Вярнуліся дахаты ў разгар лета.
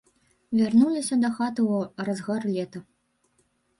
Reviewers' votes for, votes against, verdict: 1, 2, rejected